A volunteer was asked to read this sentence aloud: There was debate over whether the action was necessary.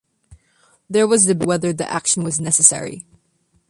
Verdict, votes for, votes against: rejected, 1, 2